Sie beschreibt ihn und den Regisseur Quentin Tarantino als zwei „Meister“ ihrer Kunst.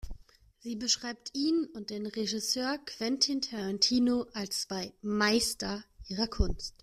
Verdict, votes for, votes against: accepted, 2, 0